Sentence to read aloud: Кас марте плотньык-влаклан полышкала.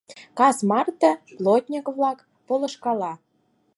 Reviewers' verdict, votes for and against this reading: rejected, 2, 4